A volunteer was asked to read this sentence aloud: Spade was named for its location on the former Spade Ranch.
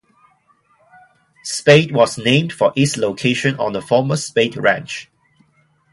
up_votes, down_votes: 2, 0